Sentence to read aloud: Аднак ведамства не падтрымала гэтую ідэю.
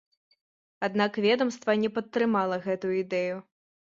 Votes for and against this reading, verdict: 2, 0, accepted